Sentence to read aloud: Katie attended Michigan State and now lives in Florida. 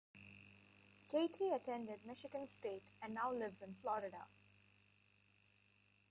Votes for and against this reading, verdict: 2, 0, accepted